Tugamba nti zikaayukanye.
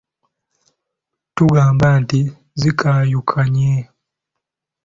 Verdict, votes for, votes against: accepted, 2, 1